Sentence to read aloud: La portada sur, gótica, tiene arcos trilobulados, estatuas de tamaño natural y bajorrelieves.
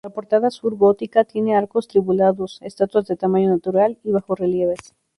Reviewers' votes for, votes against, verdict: 2, 2, rejected